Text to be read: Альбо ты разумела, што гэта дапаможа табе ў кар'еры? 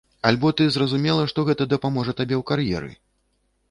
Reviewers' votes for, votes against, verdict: 0, 2, rejected